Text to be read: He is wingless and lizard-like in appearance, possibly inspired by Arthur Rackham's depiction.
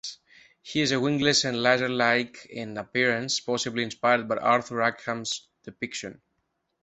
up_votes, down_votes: 0, 2